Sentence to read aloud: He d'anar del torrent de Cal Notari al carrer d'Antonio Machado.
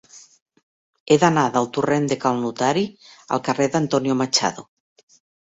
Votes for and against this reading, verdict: 2, 0, accepted